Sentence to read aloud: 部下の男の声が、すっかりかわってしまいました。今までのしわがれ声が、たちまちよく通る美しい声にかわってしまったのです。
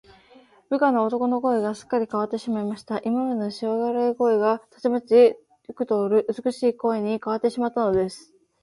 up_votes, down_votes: 0, 2